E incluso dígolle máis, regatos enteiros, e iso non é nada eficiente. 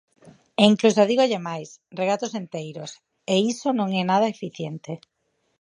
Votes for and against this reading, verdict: 2, 2, rejected